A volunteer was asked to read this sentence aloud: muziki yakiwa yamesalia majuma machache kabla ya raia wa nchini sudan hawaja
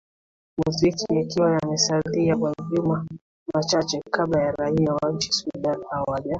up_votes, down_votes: 1, 2